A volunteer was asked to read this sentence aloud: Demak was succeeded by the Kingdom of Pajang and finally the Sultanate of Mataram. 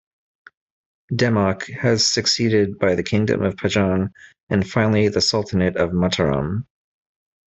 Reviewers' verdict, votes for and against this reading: rejected, 0, 2